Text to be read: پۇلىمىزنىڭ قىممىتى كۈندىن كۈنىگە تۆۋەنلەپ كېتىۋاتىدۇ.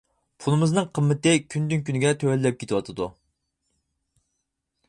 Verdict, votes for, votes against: accepted, 4, 0